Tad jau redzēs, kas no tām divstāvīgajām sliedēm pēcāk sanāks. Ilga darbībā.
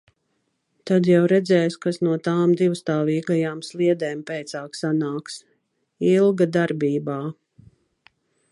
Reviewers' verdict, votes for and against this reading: accepted, 2, 0